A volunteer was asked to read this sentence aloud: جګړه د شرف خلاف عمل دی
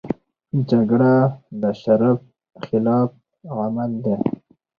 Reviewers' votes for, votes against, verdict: 2, 2, rejected